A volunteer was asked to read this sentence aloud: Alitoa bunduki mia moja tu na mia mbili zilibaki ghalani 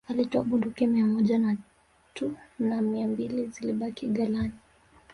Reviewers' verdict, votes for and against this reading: rejected, 1, 2